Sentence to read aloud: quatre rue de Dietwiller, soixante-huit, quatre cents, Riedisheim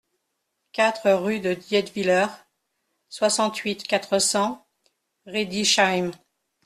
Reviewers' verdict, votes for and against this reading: accepted, 2, 0